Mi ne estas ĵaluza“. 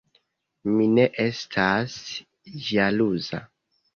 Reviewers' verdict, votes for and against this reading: accepted, 2, 0